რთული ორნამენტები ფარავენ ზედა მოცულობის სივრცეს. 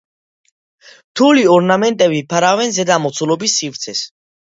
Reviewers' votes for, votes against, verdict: 2, 0, accepted